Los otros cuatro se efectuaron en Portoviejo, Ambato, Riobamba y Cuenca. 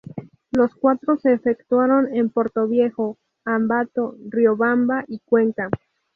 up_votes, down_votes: 0, 2